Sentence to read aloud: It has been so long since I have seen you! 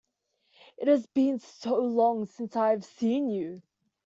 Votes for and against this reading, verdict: 2, 0, accepted